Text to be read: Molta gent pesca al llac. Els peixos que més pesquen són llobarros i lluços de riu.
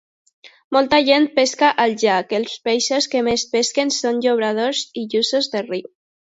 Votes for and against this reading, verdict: 0, 2, rejected